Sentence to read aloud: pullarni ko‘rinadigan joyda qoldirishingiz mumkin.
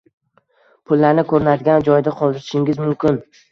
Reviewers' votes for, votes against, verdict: 1, 2, rejected